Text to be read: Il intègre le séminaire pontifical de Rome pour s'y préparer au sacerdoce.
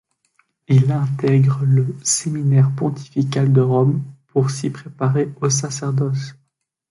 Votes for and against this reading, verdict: 2, 0, accepted